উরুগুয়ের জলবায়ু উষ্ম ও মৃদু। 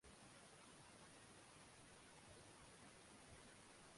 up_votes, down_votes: 0, 2